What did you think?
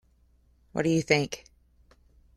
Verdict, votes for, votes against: rejected, 1, 2